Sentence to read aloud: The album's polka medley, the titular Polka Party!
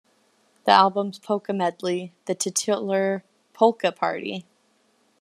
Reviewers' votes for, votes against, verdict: 2, 0, accepted